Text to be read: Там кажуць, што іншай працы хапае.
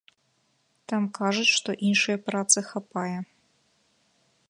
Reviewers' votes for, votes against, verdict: 2, 1, accepted